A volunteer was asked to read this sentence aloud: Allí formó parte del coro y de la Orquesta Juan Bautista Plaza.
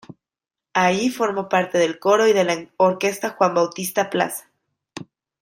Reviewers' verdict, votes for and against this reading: rejected, 1, 2